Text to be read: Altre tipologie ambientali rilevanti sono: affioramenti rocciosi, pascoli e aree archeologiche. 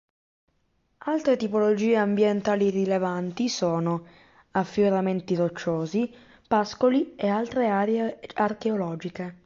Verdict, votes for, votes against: rejected, 1, 2